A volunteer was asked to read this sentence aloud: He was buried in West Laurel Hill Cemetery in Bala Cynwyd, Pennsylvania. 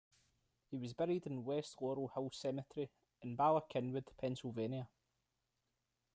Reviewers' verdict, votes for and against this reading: rejected, 1, 2